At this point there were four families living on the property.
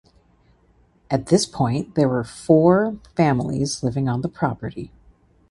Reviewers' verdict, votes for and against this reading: accepted, 2, 0